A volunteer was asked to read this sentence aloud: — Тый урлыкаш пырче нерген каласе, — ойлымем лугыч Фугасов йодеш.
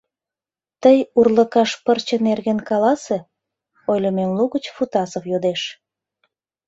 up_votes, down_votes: 0, 2